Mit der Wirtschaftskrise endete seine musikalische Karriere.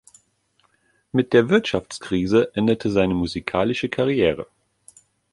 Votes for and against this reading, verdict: 2, 0, accepted